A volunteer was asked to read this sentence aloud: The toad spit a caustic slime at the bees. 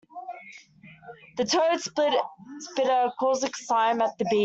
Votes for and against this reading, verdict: 0, 2, rejected